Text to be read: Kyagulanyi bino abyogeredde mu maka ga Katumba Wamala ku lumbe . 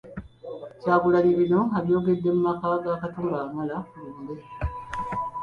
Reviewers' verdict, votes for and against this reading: rejected, 1, 2